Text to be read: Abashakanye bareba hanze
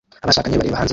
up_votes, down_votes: 0, 2